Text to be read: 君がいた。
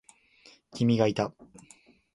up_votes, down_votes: 10, 0